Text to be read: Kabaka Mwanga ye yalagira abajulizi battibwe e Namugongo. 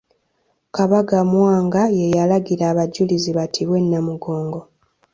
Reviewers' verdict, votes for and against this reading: accepted, 2, 0